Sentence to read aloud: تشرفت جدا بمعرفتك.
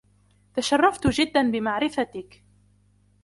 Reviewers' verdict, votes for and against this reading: accepted, 2, 0